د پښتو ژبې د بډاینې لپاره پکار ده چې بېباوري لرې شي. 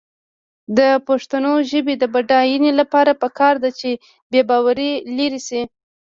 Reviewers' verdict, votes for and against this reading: rejected, 1, 2